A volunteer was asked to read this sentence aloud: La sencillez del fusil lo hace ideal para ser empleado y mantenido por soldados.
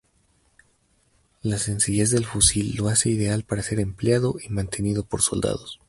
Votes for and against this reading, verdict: 0, 2, rejected